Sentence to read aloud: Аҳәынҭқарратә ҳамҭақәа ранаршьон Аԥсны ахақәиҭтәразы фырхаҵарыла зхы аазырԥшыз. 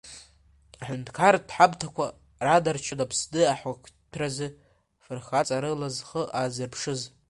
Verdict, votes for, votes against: rejected, 0, 2